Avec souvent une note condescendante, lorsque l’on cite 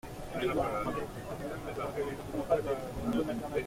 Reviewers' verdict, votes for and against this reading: rejected, 0, 2